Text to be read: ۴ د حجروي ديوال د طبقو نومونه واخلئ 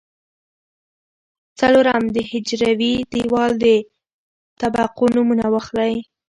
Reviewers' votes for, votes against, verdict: 0, 2, rejected